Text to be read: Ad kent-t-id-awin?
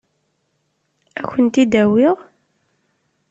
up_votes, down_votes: 1, 2